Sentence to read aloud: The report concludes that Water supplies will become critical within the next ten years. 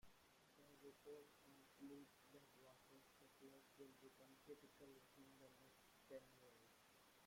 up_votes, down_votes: 0, 2